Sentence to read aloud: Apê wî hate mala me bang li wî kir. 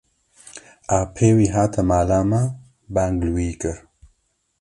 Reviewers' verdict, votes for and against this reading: accepted, 2, 0